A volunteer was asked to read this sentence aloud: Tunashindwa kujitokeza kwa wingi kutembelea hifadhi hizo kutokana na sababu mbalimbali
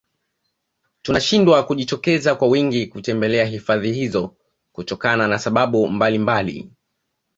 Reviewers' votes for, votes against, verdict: 2, 1, accepted